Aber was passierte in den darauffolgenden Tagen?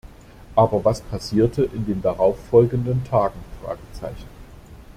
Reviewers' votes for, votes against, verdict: 0, 2, rejected